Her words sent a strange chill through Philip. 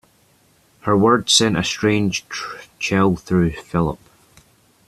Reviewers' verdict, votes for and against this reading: rejected, 1, 2